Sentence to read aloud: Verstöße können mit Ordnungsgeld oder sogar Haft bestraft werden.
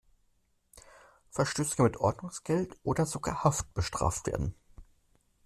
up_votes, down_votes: 2, 0